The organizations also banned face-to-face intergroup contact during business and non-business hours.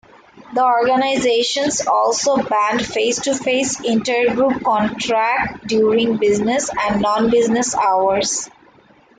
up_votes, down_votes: 0, 2